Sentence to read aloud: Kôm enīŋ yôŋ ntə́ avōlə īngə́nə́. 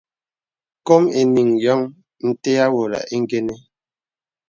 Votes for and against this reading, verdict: 2, 1, accepted